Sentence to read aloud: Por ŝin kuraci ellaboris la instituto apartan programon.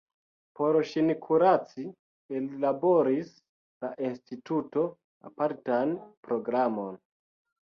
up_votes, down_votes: 2, 1